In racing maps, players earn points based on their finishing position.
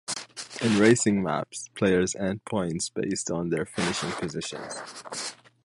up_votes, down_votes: 1, 2